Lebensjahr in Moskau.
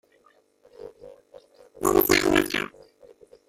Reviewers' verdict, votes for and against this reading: rejected, 0, 2